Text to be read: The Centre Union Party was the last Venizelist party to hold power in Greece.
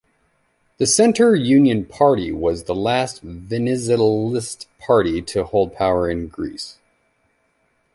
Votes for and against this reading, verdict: 1, 2, rejected